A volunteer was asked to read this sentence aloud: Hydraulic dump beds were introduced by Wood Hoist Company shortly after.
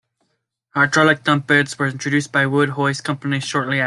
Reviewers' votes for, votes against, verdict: 1, 2, rejected